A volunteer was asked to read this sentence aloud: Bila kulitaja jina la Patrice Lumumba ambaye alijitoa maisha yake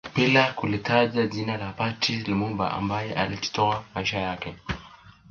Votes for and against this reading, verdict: 2, 0, accepted